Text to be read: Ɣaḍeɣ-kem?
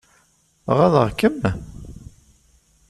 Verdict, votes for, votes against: accepted, 2, 0